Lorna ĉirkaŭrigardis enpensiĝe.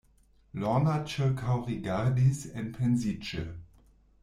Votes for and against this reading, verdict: 1, 2, rejected